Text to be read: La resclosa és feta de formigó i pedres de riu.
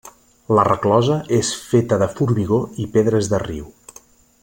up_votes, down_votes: 2, 0